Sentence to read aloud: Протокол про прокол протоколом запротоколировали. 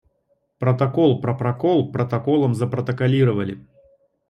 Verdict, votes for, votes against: accepted, 2, 0